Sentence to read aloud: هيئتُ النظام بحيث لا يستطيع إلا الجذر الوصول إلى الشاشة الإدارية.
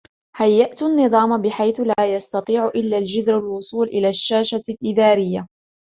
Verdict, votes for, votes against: rejected, 1, 2